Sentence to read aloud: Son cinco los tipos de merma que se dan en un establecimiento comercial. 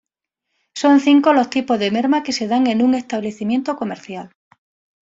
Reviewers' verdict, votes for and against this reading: accepted, 2, 0